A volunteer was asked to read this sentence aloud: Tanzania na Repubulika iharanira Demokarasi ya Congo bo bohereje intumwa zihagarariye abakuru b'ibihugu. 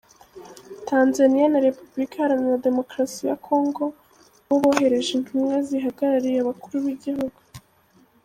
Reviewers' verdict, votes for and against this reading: rejected, 0, 2